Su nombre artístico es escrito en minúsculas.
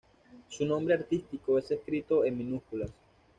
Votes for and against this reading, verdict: 2, 0, accepted